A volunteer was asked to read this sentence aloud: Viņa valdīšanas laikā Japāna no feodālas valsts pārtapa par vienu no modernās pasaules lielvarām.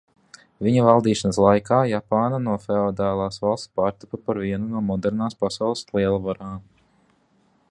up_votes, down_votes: 2, 0